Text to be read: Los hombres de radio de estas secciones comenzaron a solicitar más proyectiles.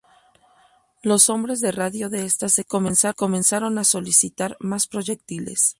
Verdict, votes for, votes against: rejected, 0, 2